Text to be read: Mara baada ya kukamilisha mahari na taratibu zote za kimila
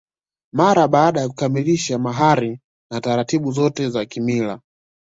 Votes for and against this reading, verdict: 2, 0, accepted